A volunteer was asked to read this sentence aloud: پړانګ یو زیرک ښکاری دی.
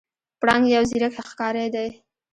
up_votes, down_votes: 0, 2